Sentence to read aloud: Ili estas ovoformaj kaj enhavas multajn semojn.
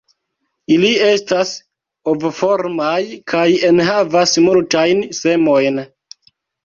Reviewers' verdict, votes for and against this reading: accepted, 2, 0